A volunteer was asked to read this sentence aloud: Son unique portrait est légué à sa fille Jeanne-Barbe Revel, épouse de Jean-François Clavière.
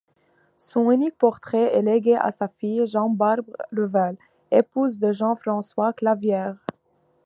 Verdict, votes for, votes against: accepted, 2, 0